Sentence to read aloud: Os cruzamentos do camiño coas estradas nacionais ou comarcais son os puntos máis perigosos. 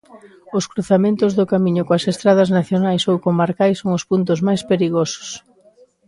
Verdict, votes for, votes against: accepted, 2, 0